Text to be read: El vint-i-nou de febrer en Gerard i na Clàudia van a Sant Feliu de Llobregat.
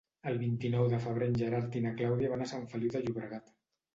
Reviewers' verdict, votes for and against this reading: accepted, 2, 0